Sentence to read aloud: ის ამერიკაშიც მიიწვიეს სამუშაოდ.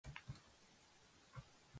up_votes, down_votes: 0, 2